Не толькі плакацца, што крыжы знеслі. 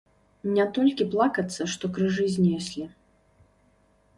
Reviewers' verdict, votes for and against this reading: accepted, 2, 0